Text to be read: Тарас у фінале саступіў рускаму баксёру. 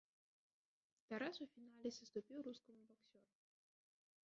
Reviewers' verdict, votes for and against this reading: rejected, 2, 3